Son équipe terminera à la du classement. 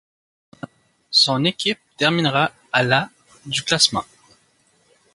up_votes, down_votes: 2, 0